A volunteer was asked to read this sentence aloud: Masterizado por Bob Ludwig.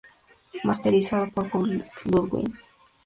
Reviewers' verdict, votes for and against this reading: accepted, 2, 0